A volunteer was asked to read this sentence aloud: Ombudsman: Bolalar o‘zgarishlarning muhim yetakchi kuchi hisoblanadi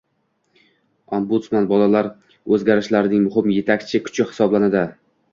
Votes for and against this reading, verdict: 2, 0, accepted